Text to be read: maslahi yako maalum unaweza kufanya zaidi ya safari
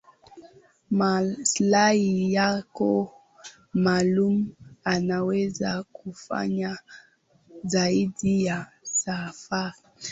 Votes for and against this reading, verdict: 5, 3, accepted